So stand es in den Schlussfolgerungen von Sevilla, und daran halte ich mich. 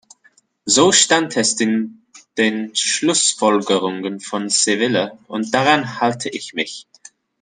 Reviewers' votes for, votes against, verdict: 0, 2, rejected